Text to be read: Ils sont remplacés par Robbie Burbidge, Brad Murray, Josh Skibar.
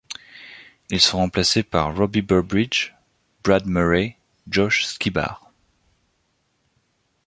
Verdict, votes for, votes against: accepted, 2, 0